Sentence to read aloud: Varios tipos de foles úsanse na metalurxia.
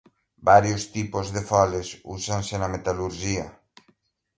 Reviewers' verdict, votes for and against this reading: rejected, 1, 2